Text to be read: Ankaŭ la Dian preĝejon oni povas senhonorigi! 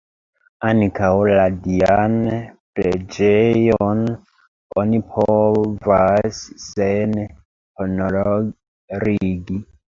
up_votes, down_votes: 0, 3